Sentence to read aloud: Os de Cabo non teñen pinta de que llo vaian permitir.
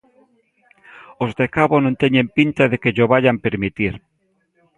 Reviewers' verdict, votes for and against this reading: accepted, 2, 1